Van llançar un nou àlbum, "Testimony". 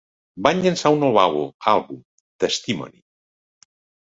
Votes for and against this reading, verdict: 0, 2, rejected